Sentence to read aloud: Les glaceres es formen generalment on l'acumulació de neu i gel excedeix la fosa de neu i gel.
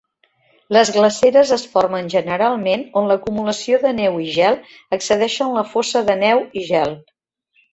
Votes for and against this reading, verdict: 0, 2, rejected